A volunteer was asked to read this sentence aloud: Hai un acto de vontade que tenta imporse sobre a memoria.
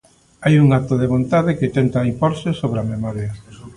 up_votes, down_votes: 1, 2